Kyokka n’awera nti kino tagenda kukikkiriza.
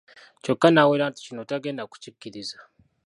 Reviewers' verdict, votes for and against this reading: rejected, 1, 2